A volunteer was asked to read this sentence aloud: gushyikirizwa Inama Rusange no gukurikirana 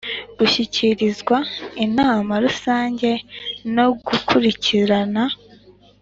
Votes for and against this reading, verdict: 3, 0, accepted